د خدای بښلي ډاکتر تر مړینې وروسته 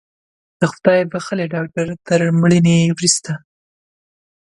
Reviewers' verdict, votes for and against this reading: accepted, 2, 0